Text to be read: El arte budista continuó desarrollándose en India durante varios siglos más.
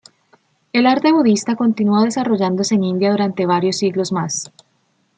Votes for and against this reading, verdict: 2, 0, accepted